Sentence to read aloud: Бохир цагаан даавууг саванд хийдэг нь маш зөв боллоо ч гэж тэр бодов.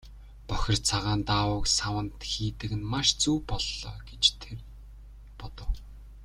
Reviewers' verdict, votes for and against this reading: rejected, 1, 2